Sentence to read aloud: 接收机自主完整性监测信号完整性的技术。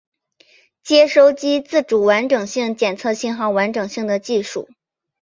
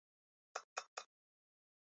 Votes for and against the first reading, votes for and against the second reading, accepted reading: 2, 0, 2, 3, first